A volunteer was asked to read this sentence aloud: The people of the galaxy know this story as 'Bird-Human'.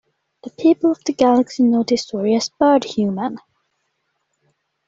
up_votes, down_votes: 2, 0